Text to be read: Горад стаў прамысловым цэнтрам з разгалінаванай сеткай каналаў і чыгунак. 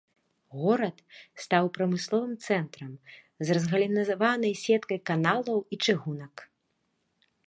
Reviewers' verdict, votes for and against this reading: rejected, 0, 2